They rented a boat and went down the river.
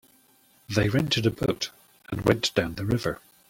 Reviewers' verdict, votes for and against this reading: accepted, 2, 1